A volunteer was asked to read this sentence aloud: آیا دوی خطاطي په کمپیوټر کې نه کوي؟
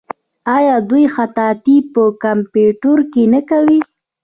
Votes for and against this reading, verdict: 2, 0, accepted